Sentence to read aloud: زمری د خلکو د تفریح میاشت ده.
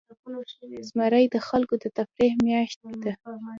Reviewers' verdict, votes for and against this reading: accepted, 2, 0